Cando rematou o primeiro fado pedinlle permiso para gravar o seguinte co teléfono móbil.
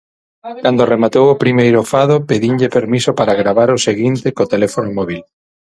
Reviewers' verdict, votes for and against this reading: rejected, 3, 6